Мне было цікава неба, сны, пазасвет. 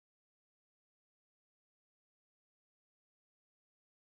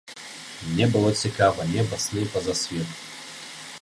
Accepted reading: second